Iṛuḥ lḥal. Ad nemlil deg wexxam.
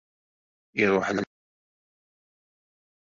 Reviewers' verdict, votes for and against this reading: rejected, 0, 2